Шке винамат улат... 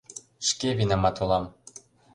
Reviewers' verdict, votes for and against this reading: rejected, 0, 2